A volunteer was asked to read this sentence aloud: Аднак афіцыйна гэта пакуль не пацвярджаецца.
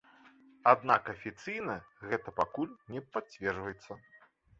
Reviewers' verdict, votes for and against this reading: rejected, 1, 2